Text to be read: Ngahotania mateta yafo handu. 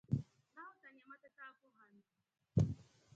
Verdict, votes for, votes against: rejected, 0, 2